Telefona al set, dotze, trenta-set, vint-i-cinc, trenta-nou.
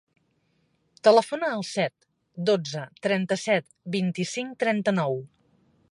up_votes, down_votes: 1, 2